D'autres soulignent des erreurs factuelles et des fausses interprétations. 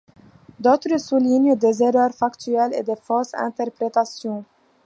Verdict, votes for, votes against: accepted, 2, 0